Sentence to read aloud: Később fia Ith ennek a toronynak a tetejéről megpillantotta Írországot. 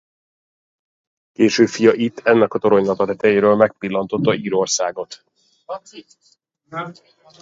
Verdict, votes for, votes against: rejected, 0, 2